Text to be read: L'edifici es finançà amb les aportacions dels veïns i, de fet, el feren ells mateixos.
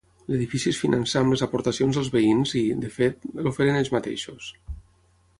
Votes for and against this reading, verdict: 3, 6, rejected